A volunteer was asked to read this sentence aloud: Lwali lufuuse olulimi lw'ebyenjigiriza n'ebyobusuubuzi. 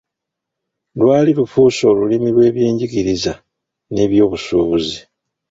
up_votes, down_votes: 0, 2